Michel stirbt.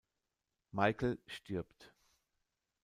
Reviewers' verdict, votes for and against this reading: rejected, 0, 2